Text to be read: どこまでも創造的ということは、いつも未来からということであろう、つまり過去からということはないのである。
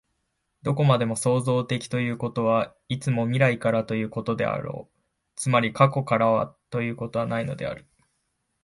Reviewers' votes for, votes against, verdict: 3, 5, rejected